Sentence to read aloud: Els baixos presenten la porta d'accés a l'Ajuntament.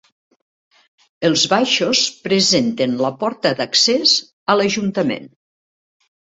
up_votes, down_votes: 3, 0